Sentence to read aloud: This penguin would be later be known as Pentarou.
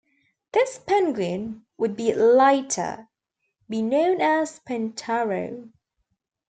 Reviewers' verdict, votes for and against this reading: accepted, 2, 1